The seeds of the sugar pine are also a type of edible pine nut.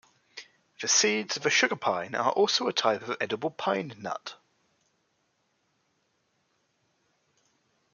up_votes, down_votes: 1, 2